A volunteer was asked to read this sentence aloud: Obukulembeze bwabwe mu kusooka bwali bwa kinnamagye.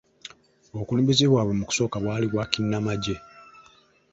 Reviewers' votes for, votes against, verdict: 2, 0, accepted